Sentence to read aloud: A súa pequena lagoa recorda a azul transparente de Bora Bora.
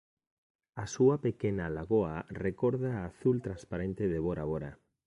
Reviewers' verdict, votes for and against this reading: accepted, 2, 0